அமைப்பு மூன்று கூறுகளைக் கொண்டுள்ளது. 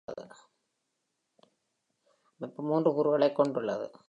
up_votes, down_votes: 3, 1